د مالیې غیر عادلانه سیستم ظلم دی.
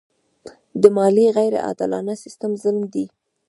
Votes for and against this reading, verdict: 0, 2, rejected